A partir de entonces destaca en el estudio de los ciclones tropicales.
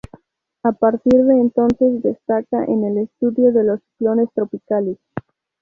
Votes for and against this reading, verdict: 2, 0, accepted